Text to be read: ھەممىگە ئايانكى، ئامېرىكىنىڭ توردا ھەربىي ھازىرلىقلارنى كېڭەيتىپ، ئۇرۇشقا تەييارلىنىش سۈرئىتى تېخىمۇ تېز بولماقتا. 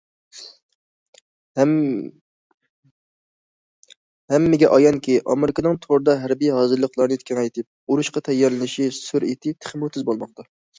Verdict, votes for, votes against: rejected, 0, 2